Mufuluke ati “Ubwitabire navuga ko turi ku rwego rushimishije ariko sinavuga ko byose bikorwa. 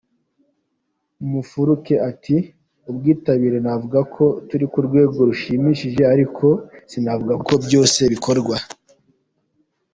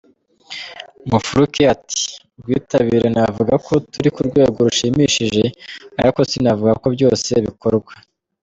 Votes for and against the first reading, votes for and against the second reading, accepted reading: 2, 0, 1, 2, first